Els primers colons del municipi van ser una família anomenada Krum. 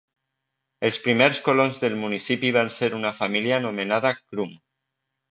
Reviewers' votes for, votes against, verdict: 2, 0, accepted